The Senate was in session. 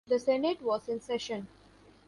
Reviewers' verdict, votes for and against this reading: accepted, 2, 0